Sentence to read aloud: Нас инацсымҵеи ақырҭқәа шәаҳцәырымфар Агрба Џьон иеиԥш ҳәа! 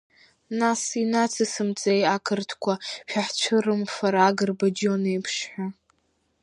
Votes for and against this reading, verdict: 2, 0, accepted